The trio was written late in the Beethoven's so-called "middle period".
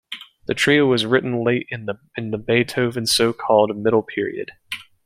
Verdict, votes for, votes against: rejected, 1, 3